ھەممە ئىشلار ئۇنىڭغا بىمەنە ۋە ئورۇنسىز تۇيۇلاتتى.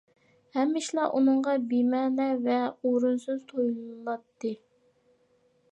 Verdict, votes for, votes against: rejected, 1, 2